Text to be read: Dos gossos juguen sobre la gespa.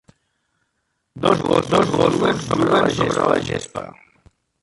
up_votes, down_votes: 0, 2